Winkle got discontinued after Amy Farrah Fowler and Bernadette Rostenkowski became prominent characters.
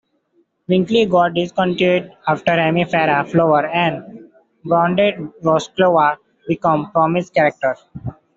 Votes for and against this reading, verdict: 1, 2, rejected